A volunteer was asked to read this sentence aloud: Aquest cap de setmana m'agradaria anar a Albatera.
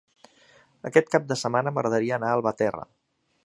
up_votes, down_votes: 3, 1